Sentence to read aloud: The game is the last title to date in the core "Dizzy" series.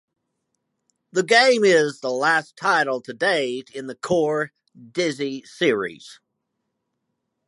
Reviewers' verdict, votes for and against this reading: accepted, 2, 0